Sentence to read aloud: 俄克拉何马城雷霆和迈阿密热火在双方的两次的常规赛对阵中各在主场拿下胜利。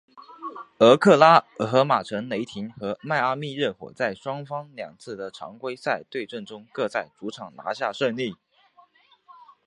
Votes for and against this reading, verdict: 2, 1, accepted